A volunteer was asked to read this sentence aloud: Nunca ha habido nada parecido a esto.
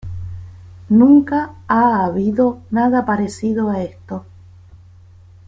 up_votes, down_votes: 1, 2